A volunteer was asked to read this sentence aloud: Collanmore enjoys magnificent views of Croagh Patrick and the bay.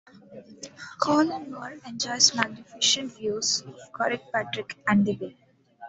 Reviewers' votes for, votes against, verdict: 1, 2, rejected